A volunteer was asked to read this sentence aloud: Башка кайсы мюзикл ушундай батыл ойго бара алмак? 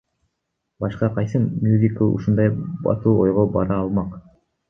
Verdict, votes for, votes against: rejected, 1, 2